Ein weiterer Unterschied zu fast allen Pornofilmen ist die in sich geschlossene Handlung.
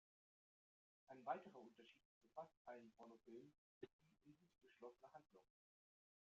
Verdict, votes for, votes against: rejected, 1, 2